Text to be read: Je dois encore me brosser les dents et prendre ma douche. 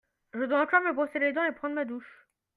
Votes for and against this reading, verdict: 2, 0, accepted